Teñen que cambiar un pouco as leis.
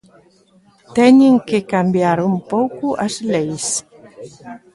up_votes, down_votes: 2, 0